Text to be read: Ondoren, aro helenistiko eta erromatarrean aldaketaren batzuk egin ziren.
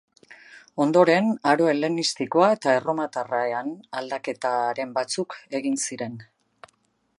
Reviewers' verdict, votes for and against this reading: rejected, 0, 2